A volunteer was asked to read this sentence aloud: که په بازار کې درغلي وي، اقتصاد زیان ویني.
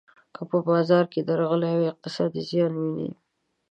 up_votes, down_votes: 0, 2